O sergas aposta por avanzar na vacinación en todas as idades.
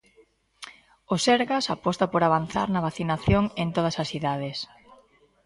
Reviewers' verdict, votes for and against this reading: accepted, 2, 0